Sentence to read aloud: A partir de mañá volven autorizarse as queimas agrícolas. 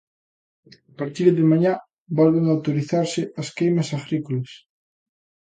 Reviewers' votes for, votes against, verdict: 2, 0, accepted